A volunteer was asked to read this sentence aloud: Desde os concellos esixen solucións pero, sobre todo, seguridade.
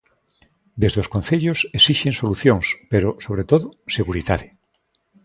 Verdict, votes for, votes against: accepted, 2, 0